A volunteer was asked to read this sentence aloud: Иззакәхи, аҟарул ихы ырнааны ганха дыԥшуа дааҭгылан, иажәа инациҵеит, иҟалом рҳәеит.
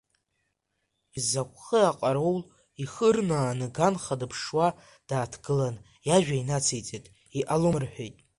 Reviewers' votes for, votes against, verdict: 0, 2, rejected